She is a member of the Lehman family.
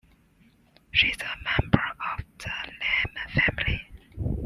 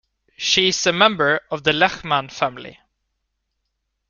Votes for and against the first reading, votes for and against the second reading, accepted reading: 0, 2, 2, 0, second